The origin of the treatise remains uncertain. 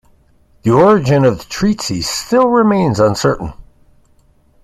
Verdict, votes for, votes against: rejected, 1, 2